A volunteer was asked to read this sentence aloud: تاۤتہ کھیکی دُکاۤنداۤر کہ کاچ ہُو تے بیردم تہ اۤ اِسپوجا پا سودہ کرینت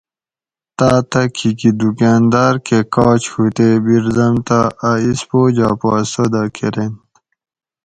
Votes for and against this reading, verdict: 4, 0, accepted